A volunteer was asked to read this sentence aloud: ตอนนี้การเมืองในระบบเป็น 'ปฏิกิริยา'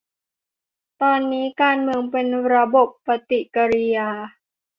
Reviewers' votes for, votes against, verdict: 0, 2, rejected